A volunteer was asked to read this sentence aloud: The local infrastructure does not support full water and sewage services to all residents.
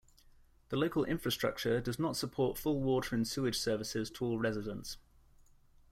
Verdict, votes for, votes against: accepted, 2, 0